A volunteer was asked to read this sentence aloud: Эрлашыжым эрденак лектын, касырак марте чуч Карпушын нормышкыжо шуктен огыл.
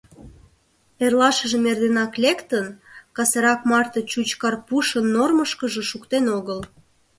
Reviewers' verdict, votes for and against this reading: accepted, 2, 0